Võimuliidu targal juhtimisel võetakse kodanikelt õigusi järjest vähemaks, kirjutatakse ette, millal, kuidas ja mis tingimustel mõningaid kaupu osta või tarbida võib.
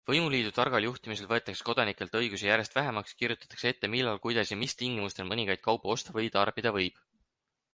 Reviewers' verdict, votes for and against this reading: accepted, 6, 2